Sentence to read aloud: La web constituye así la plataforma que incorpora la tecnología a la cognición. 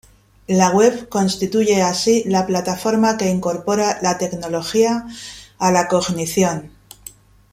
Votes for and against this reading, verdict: 2, 1, accepted